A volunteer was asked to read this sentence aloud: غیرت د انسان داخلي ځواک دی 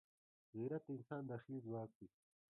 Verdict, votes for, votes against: accepted, 2, 1